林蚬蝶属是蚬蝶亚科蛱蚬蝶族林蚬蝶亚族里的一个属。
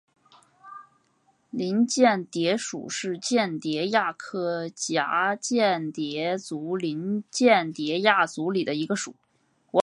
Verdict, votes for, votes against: accepted, 4, 1